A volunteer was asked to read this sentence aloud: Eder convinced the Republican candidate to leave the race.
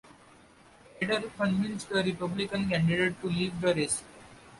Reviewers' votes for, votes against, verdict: 2, 0, accepted